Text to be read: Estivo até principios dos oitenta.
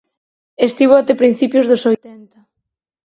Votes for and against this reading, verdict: 2, 4, rejected